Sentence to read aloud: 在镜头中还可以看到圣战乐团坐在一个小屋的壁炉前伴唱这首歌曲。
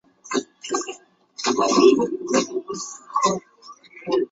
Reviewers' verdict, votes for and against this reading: rejected, 0, 2